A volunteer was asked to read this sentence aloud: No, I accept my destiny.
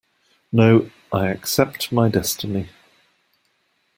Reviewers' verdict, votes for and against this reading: accepted, 2, 0